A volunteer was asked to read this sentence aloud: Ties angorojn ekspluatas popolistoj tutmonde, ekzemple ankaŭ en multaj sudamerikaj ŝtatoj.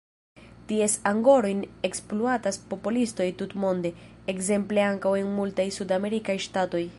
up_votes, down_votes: 0, 2